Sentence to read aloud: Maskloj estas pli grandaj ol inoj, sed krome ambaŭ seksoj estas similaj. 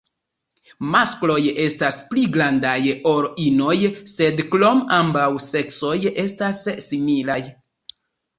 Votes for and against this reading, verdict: 1, 2, rejected